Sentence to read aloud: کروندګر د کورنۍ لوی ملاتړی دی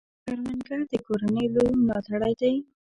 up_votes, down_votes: 1, 2